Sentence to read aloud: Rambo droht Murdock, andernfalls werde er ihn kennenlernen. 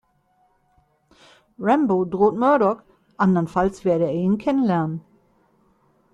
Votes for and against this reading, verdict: 2, 0, accepted